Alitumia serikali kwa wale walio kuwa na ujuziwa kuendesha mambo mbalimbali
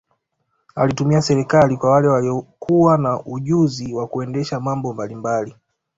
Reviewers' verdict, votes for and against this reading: rejected, 1, 2